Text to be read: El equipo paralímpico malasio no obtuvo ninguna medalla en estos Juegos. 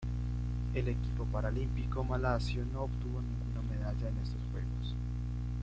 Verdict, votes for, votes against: accepted, 2, 1